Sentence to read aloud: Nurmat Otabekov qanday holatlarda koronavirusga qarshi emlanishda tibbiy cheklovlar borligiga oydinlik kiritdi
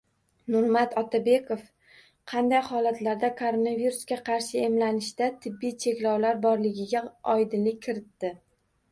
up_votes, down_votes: 2, 0